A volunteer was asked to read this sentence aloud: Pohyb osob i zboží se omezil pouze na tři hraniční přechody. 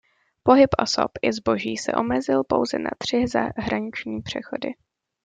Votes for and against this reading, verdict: 0, 2, rejected